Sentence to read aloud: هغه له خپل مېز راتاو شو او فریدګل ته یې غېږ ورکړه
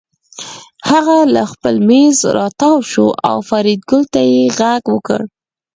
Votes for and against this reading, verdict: 2, 4, rejected